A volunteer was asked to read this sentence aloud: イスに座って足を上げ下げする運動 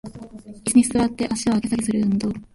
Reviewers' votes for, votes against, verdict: 1, 2, rejected